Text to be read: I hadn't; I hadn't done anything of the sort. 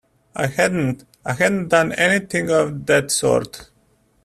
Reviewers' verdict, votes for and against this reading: rejected, 0, 2